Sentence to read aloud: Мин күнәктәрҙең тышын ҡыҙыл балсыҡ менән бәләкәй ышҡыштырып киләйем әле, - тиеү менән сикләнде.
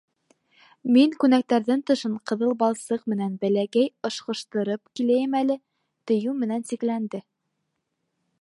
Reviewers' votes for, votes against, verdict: 1, 2, rejected